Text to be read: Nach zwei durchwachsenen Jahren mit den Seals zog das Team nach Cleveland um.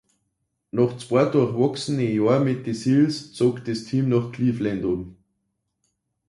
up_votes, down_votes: 0, 2